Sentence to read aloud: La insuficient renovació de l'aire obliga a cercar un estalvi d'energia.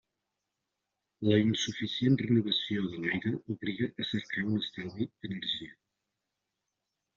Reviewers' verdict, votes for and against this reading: rejected, 0, 2